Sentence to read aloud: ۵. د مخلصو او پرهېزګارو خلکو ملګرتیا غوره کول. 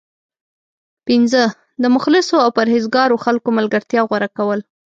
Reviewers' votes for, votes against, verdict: 0, 2, rejected